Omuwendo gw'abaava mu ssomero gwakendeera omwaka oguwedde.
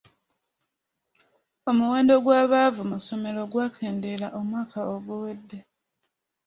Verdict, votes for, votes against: accepted, 2, 1